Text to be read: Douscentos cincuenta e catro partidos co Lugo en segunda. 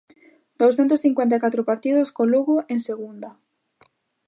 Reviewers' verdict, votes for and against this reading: accepted, 2, 0